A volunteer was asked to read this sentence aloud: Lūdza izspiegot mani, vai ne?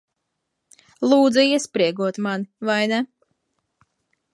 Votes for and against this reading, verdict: 0, 3, rejected